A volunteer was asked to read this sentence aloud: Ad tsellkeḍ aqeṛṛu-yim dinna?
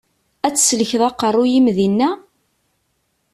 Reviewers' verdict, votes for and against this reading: accepted, 2, 0